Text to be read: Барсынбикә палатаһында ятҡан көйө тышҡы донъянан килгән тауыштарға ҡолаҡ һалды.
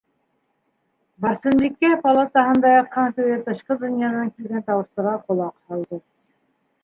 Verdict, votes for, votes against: rejected, 0, 2